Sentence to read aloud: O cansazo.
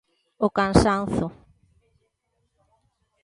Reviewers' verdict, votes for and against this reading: rejected, 0, 2